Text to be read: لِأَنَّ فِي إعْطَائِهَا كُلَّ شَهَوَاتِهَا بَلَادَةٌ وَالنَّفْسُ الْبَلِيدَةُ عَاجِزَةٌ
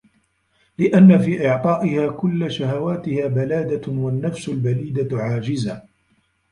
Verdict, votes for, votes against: rejected, 1, 2